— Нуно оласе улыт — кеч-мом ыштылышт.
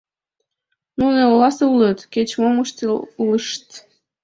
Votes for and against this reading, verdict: 2, 4, rejected